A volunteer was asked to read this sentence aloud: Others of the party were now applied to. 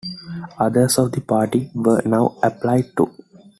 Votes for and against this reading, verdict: 2, 0, accepted